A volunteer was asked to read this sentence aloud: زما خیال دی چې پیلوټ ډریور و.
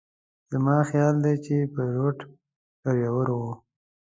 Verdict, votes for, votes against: accepted, 2, 0